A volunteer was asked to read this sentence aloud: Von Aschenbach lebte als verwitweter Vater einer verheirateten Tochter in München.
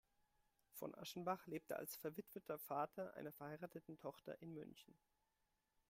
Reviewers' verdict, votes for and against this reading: accepted, 2, 1